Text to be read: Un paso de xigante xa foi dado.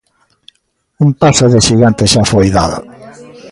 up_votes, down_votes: 0, 2